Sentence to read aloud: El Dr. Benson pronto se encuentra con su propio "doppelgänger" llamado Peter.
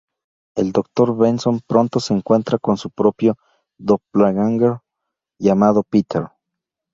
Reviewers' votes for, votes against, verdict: 0, 2, rejected